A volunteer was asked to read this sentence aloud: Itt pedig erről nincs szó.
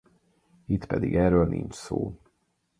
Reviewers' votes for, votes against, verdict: 4, 0, accepted